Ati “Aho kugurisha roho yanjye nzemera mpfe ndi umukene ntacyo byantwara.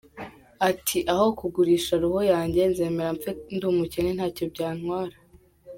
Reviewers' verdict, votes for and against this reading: accepted, 2, 0